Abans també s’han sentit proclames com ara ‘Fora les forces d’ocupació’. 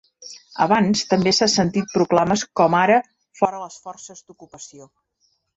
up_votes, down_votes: 1, 2